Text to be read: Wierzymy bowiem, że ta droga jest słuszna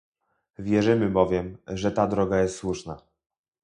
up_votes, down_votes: 2, 2